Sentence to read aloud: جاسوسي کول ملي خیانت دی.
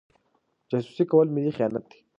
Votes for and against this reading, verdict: 2, 0, accepted